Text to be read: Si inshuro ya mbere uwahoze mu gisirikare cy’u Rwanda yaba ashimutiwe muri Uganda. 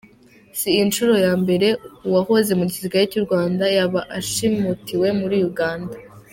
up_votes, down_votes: 2, 1